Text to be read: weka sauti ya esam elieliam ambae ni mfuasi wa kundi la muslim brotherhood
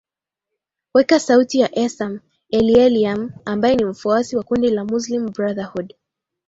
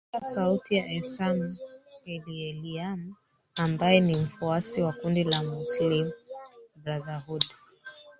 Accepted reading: first